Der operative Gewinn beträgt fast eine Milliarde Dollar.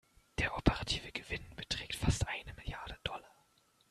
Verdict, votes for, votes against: rejected, 1, 2